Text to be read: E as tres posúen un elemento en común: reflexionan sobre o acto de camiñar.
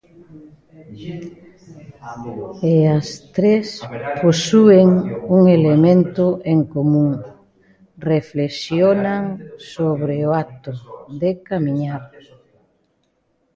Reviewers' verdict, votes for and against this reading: rejected, 0, 2